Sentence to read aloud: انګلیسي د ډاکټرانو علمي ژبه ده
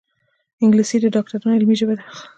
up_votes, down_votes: 2, 0